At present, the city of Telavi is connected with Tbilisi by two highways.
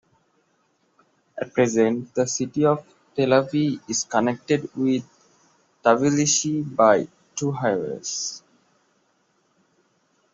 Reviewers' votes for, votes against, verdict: 2, 1, accepted